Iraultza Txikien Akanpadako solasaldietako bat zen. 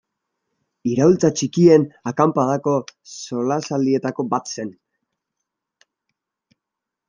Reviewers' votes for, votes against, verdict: 1, 2, rejected